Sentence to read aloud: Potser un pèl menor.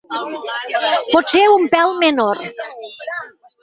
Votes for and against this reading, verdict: 0, 4, rejected